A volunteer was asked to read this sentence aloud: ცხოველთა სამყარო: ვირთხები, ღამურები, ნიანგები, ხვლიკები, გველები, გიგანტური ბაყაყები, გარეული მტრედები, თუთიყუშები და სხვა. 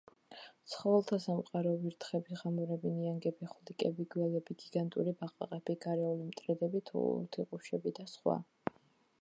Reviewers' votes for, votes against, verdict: 2, 0, accepted